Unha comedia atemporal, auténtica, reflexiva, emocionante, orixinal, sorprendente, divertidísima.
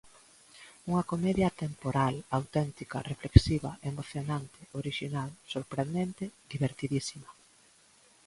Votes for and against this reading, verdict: 2, 0, accepted